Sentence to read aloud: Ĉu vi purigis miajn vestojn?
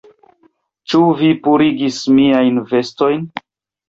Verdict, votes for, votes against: accepted, 2, 1